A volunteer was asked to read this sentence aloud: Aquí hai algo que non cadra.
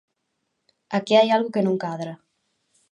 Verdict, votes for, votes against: accepted, 2, 0